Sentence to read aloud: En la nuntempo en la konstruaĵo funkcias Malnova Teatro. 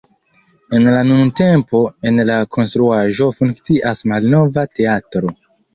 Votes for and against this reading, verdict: 2, 0, accepted